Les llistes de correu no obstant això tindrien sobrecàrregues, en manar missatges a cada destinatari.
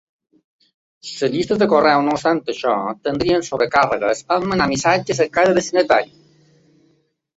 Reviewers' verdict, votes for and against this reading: rejected, 1, 2